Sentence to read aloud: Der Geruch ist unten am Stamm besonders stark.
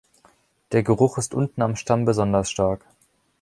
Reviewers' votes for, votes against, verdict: 2, 0, accepted